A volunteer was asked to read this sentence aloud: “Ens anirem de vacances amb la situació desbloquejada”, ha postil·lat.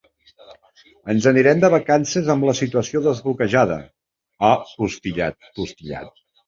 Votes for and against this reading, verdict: 0, 2, rejected